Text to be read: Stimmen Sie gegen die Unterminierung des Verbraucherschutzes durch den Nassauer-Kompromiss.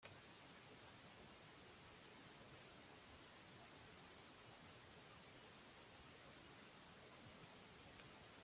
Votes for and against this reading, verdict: 0, 2, rejected